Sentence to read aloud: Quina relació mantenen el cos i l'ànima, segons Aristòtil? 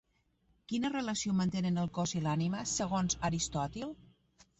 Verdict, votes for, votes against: accepted, 4, 1